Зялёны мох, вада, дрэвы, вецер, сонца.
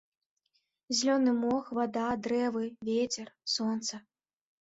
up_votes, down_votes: 1, 2